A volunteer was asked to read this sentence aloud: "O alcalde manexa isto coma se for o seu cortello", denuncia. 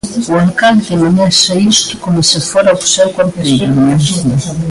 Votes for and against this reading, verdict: 0, 2, rejected